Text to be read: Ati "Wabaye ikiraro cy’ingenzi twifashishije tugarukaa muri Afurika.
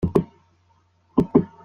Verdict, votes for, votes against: rejected, 0, 2